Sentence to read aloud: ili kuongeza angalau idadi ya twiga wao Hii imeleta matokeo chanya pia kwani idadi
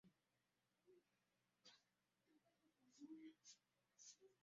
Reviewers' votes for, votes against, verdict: 0, 2, rejected